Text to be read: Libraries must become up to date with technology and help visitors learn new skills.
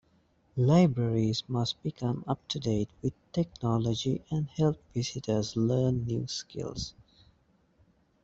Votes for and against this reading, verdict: 2, 0, accepted